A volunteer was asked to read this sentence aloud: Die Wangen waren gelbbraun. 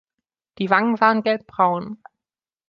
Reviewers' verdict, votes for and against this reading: accepted, 2, 0